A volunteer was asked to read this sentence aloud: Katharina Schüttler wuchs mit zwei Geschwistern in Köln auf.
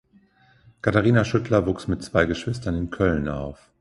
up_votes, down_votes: 2, 0